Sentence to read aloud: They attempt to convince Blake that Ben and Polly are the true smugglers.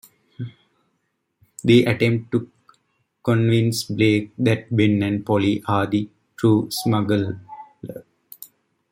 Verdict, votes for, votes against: accepted, 2, 1